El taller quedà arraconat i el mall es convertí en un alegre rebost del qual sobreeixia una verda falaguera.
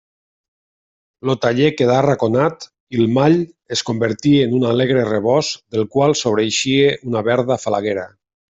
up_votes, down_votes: 1, 2